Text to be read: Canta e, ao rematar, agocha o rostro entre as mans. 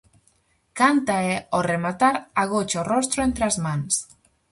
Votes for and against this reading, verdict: 4, 0, accepted